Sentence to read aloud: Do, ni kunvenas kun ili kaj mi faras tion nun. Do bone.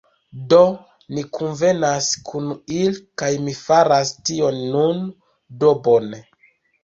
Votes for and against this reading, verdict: 2, 1, accepted